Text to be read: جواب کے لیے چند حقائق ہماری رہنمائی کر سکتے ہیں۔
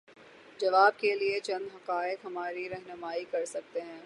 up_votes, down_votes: 24, 0